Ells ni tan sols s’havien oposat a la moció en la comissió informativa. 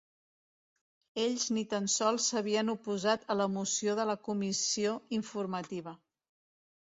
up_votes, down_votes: 1, 2